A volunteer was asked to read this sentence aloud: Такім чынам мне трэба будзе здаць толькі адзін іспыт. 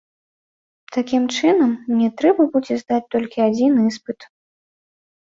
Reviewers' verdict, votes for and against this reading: rejected, 0, 2